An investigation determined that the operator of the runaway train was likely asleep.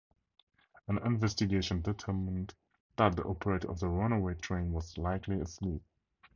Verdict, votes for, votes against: rejected, 0, 2